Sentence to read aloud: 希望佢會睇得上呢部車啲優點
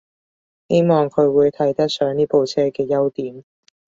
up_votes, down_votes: 1, 2